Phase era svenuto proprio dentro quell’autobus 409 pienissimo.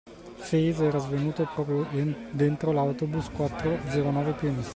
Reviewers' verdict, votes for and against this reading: rejected, 0, 2